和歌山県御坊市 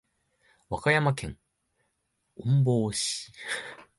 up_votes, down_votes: 0, 2